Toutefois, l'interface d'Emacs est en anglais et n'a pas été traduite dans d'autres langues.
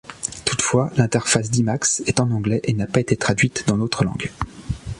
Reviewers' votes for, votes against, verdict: 2, 0, accepted